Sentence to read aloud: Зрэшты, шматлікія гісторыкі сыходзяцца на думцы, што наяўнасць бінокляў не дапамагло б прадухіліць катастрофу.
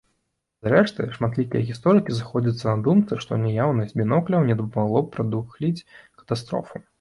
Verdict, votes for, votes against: rejected, 1, 2